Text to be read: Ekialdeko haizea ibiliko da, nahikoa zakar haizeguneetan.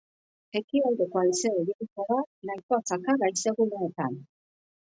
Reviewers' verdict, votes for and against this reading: accepted, 2, 1